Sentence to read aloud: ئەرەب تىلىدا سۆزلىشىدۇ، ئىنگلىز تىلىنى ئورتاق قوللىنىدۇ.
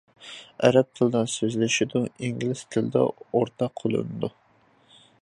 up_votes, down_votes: 0, 2